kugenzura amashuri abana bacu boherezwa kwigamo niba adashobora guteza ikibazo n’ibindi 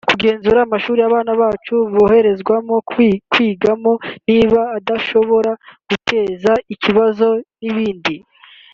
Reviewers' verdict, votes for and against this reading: rejected, 0, 3